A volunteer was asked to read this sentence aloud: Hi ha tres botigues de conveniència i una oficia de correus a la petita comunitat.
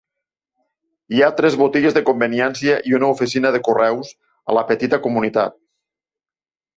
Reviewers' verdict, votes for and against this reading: rejected, 0, 2